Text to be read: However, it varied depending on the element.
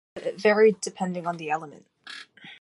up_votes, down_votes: 1, 2